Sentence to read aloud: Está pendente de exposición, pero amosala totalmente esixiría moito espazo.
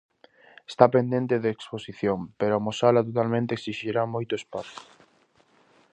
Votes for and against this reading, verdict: 0, 2, rejected